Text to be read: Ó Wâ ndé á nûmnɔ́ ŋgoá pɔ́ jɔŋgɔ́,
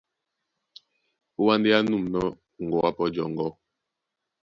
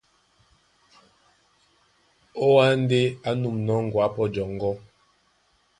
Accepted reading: second